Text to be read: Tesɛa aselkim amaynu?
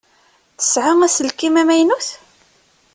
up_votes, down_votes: 0, 2